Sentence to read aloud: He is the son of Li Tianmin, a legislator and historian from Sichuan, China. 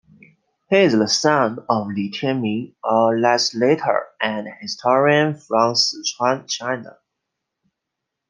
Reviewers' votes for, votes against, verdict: 1, 2, rejected